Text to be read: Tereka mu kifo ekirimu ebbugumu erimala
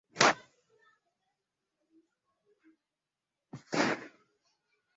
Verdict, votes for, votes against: rejected, 0, 2